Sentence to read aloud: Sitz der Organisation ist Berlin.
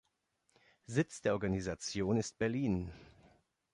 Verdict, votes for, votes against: accepted, 2, 0